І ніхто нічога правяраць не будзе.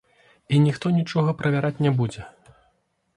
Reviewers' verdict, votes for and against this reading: rejected, 1, 2